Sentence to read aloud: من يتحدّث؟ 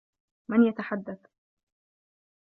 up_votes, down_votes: 2, 1